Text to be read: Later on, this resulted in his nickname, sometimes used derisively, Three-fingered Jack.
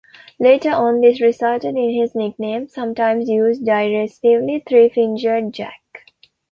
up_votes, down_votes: 0, 2